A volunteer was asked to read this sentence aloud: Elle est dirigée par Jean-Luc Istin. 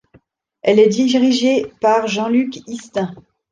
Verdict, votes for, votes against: rejected, 0, 2